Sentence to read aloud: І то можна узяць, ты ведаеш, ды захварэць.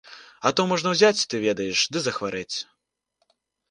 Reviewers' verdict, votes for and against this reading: rejected, 0, 2